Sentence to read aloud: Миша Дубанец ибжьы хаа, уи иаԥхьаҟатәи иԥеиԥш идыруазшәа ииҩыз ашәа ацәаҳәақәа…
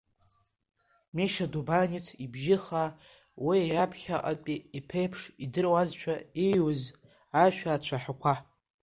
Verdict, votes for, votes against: accepted, 2, 0